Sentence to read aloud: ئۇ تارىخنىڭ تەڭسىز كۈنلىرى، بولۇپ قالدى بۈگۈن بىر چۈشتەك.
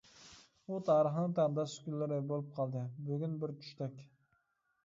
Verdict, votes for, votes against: rejected, 0, 2